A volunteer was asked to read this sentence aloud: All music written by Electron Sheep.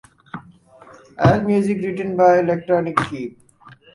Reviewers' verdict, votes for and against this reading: rejected, 0, 4